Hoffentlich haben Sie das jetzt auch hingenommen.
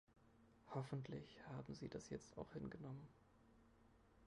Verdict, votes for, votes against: rejected, 0, 3